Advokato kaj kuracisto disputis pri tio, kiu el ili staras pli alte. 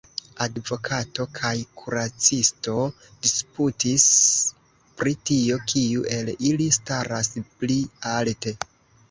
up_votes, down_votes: 1, 2